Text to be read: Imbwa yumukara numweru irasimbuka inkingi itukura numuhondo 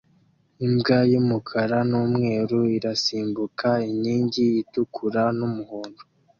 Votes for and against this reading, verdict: 2, 0, accepted